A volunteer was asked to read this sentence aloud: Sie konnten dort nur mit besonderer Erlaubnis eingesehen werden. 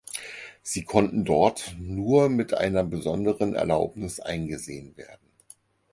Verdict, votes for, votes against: rejected, 2, 4